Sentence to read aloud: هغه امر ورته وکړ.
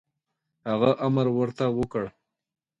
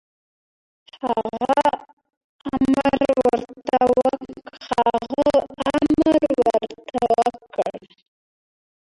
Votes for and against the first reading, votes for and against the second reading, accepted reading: 2, 0, 0, 2, first